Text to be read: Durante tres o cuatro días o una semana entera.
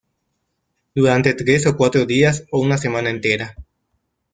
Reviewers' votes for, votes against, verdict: 2, 1, accepted